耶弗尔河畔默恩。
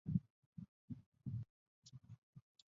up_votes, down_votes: 0, 2